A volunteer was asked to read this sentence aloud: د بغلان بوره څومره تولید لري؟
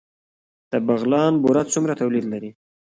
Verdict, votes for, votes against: rejected, 1, 2